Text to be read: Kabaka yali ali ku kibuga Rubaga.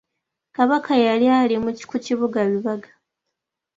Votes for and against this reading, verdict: 2, 1, accepted